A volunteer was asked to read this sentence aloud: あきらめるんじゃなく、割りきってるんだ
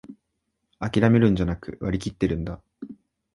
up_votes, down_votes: 1, 2